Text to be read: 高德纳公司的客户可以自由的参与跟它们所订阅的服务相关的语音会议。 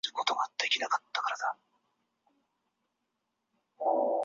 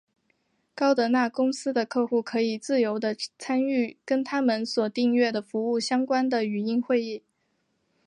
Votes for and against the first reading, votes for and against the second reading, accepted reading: 2, 6, 4, 0, second